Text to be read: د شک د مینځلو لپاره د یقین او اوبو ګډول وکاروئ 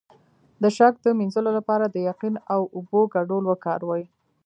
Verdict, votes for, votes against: accepted, 2, 0